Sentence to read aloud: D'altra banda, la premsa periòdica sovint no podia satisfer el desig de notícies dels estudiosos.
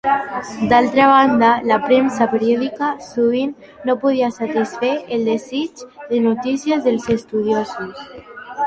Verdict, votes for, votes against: rejected, 0, 2